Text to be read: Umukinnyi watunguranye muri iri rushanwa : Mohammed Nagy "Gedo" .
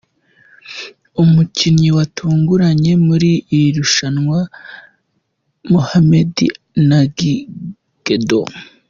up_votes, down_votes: 2, 0